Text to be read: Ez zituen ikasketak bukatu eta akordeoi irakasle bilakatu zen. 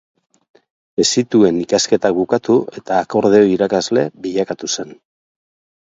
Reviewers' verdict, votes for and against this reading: accepted, 8, 0